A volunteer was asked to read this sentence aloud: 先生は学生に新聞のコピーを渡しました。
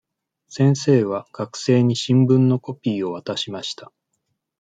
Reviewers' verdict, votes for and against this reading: accepted, 2, 0